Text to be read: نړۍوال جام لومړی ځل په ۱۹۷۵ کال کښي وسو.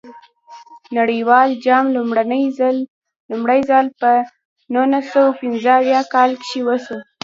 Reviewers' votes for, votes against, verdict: 0, 2, rejected